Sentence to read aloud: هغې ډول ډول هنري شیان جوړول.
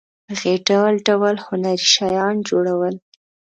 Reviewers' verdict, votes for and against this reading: accepted, 2, 0